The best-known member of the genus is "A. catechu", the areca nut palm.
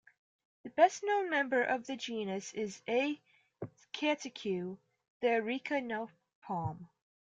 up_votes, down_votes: 1, 2